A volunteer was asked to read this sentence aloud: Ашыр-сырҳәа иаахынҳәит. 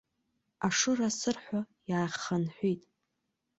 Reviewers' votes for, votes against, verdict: 1, 2, rejected